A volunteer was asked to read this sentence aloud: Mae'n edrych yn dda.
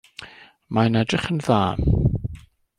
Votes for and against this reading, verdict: 2, 0, accepted